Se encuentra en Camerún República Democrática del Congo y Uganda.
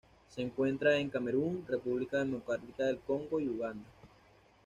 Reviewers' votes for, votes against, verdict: 2, 0, accepted